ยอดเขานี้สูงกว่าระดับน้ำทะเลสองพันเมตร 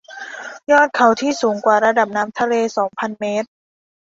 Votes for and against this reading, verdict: 0, 2, rejected